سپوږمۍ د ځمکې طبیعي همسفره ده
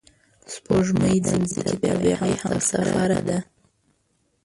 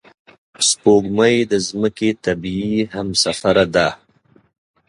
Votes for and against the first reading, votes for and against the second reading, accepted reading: 0, 2, 2, 0, second